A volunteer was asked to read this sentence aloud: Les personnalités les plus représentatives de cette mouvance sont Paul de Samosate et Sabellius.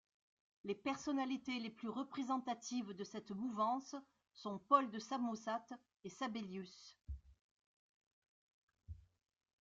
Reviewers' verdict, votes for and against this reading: rejected, 1, 2